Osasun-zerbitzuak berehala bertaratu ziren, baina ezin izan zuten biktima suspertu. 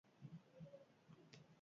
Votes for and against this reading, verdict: 0, 4, rejected